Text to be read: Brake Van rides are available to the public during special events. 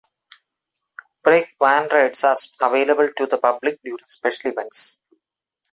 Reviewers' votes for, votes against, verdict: 2, 1, accepted